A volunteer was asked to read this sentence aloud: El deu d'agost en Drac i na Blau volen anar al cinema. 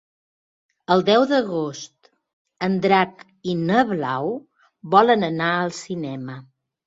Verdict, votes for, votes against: accepted, 3, 0